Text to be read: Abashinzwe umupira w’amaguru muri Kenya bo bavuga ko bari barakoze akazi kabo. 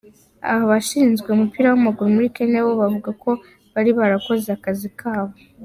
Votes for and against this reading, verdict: 3, 1, accepted